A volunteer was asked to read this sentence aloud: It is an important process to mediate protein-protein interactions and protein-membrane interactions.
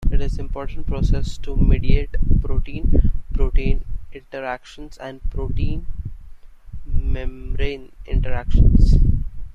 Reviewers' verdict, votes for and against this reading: rejected, 1, 2